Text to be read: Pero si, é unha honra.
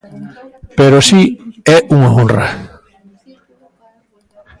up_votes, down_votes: 2, 0